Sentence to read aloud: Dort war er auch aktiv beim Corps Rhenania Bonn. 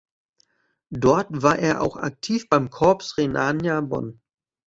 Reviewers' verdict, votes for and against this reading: rejected, 1, 2